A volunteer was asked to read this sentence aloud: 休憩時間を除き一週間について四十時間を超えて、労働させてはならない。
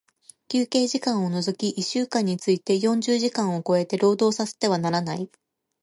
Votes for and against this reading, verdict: 0, 2, rejected